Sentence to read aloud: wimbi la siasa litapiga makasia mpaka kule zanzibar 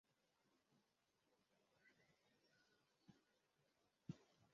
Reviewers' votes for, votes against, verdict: 0, 2, rejected